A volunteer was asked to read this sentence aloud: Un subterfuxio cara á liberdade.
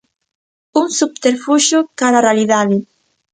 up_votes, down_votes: 0, 2